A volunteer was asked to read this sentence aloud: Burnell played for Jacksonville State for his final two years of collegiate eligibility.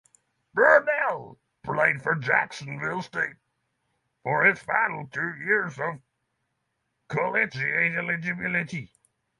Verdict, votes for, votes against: rejected, 3, 6